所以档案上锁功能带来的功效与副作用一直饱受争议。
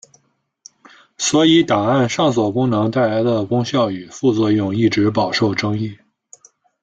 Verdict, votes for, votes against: accepted, 2, 0